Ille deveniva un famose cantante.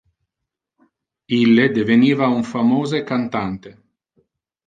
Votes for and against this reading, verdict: 2, 0, accepted